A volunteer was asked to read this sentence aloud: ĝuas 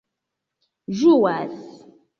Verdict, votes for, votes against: accepted, 2, 1